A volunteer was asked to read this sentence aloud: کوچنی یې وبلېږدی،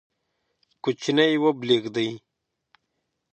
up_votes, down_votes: 6, 0